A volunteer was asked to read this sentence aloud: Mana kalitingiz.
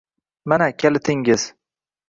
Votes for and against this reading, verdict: 2, 0, accepted